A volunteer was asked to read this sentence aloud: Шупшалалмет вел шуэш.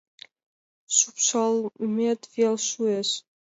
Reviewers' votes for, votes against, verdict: 1, 2, rejected